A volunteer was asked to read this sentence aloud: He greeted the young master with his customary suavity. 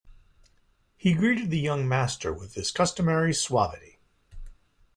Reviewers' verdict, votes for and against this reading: accepted, 3, 0